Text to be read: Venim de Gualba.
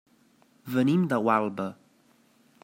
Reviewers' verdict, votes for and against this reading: accepted, 3, 0